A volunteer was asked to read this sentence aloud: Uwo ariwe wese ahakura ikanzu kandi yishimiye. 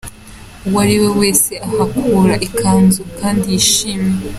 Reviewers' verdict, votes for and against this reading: accepted, 2, 0